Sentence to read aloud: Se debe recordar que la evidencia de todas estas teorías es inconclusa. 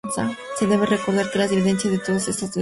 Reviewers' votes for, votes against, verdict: 0, 2, rejected